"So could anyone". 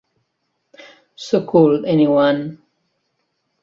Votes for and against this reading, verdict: 1, 2, rejected